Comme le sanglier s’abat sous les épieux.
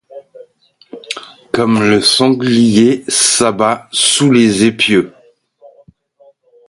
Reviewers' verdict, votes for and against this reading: accepted, 2, 0